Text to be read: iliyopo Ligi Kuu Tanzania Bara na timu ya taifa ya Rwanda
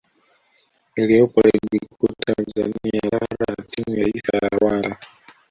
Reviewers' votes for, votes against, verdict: 2, 1, accepted